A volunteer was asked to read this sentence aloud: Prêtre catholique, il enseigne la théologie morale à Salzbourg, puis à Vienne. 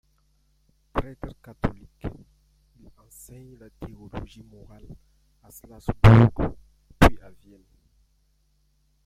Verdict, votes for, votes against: rejected, 0, 2